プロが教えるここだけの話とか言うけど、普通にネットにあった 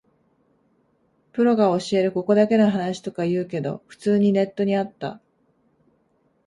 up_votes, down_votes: 2, 0